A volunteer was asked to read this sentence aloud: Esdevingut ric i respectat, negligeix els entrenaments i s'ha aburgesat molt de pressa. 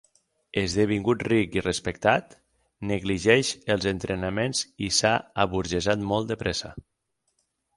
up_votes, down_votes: 6, 0